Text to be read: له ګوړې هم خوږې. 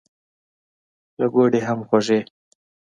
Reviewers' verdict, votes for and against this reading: accepted, 2, 0